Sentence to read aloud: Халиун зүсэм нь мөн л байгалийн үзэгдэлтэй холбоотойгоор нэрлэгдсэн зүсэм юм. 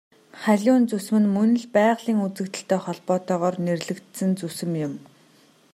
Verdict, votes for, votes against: accepted, 2, 0